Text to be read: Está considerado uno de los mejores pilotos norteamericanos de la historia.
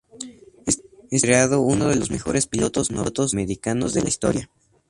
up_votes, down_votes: 0, 2